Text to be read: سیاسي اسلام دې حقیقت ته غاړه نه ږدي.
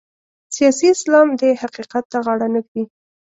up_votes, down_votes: 2, 0